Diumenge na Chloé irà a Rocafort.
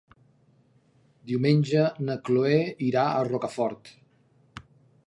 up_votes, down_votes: 2, 0